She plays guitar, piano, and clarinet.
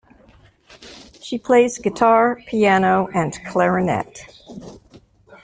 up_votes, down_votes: 2, 1